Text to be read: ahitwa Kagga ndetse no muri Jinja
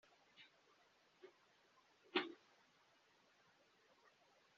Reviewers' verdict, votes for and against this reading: rejected, 1, 3